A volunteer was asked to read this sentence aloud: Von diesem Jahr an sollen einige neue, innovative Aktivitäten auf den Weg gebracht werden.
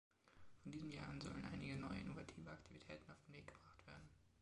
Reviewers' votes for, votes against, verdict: 2, 3, rejected